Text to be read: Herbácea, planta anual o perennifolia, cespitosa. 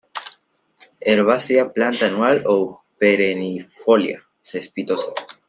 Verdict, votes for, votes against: rejected, 0, 2